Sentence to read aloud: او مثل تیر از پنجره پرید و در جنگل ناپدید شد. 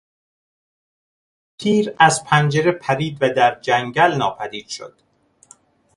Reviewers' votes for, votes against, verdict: 0, 2, rejected